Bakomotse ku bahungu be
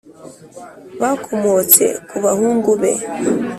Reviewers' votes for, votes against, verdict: 2, 0, accepted